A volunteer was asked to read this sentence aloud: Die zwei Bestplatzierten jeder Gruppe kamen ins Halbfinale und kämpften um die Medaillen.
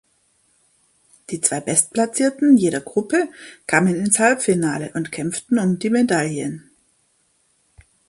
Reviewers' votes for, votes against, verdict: 3, 0, accepted